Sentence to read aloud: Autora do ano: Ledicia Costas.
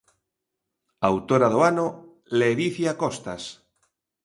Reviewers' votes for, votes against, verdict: 2, 0, accepted